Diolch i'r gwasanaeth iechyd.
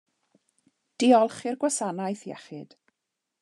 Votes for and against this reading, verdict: 2, 0, accepted